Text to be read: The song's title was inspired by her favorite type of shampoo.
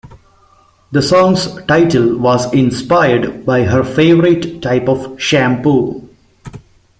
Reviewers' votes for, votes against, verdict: 2, 1, accepted